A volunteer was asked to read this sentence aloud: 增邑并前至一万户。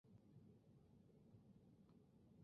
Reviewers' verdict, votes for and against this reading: rejected, 2, 4